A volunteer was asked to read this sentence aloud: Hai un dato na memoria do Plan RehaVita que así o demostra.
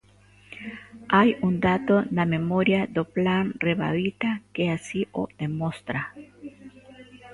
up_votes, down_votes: 0, 2